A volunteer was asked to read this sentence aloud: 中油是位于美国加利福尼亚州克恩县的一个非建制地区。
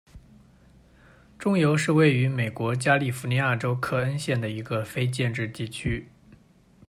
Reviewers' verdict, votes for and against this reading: accepted, 2, 0